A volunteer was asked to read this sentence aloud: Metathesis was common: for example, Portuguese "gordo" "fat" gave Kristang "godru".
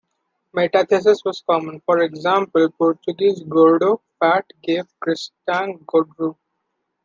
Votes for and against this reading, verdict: 2, 1, accepted